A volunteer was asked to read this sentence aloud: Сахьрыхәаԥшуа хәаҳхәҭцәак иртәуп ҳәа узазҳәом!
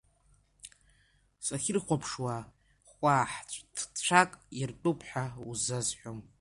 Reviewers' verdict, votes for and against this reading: rejected, 0, 2